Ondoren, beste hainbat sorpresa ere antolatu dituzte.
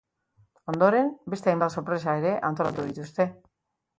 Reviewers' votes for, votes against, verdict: 3, 0, accepted